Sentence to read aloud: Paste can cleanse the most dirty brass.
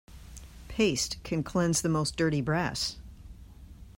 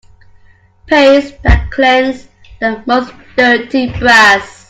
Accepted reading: first